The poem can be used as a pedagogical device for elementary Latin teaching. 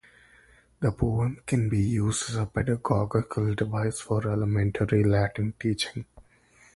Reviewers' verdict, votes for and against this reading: rejected, 0, 2